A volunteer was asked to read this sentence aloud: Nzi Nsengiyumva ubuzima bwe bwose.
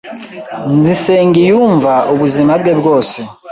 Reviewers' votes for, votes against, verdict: 2, 0, accepted